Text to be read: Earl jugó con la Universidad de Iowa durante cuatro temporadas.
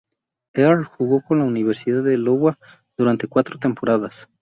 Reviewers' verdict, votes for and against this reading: rejected, 0, 2